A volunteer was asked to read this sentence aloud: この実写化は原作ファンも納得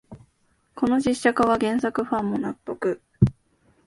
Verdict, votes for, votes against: accepted, 3, 0